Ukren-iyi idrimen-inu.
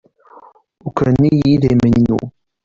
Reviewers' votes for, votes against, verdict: 1, 2, rejected